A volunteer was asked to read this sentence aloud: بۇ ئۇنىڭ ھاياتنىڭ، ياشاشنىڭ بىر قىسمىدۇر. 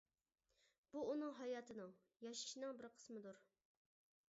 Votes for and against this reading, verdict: 0, 2, rejected